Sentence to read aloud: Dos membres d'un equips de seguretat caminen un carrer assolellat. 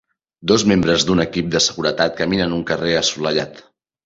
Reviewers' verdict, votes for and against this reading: rejected, 1, 2